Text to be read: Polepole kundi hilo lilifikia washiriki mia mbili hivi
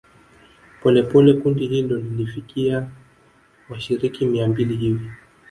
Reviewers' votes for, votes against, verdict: 0, 2, rejected